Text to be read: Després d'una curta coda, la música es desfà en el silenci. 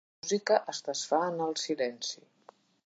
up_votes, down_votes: 1, 2